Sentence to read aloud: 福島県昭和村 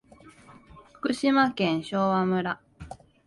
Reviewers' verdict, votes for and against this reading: accepted, 3, 0